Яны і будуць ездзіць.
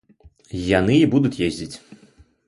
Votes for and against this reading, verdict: 0, 2, rejected